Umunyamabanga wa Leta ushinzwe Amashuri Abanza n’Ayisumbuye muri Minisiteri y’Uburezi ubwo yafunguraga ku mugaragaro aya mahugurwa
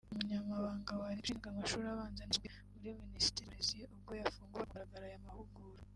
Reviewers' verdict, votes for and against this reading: rejected, 1, 2